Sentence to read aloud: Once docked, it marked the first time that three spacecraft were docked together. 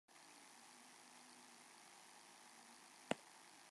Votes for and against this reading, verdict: 0, 2, rejected